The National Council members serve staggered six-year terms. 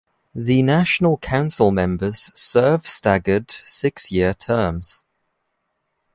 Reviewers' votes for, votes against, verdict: 3, 1, accepted